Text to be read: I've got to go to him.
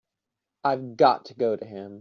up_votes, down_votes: 3, 0